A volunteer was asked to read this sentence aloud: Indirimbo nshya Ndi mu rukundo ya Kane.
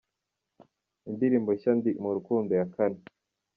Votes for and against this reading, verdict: 2, 0, accepted